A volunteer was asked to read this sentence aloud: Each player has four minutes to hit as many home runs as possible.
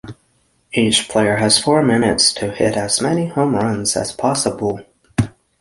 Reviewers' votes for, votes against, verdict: 9, 0, accepted